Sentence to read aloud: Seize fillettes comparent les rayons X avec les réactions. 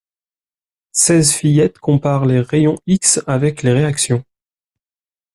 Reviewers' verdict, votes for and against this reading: accepted, 2, 0